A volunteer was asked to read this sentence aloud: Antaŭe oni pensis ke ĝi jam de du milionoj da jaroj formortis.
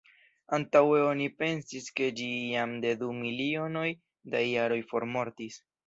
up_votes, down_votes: 2, 0